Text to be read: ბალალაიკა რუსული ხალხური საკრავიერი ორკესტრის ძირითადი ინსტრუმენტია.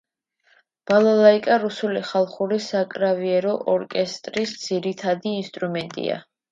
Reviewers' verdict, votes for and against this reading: rejected, 1, 2